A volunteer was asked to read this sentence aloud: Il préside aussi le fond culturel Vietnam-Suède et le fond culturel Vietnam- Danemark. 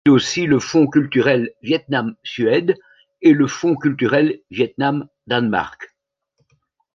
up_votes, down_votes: 1, 2